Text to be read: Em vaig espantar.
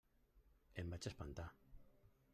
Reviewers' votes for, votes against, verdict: 0, 2, rejected